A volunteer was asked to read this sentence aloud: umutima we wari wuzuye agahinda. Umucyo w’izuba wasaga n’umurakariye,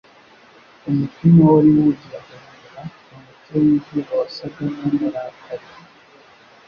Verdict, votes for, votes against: rejected, 0, 2